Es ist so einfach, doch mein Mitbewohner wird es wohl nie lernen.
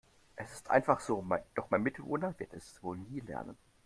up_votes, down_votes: 0, 2